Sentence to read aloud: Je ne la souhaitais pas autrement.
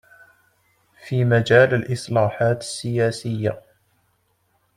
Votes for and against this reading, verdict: 0, 2, rejected